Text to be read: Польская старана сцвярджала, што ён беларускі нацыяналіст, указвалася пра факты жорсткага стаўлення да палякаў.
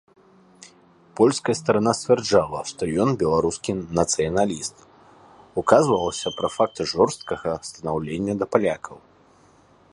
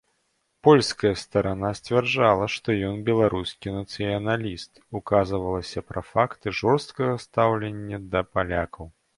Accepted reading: second